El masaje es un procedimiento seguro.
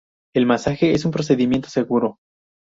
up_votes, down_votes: 4, 0